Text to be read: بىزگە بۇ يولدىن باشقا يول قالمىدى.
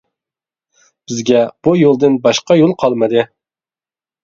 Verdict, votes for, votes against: accepted, 2, 0